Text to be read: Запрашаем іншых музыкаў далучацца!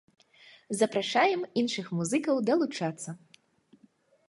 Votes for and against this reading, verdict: 2, 0, accepted